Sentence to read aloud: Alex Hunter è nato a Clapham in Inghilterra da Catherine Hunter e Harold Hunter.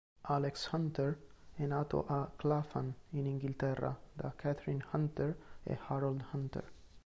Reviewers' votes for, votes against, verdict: 2, 1, accepted